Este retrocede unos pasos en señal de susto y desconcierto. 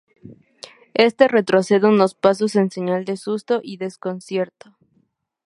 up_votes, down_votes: 2, 0